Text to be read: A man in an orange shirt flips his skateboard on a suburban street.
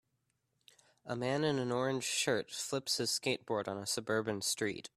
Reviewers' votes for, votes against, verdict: 2, 0, accepted